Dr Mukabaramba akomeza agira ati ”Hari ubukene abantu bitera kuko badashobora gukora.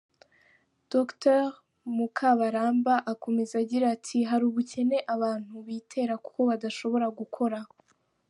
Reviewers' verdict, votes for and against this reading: accepted, 2, 0